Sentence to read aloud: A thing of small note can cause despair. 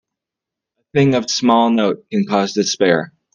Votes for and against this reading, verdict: 1, 2, rejected